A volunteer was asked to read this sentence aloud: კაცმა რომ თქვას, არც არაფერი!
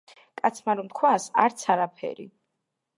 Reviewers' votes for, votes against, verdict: 2, 0, accepted